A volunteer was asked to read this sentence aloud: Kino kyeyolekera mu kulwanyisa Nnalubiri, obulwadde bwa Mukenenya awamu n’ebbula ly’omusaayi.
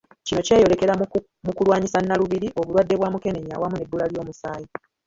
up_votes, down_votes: 1, 2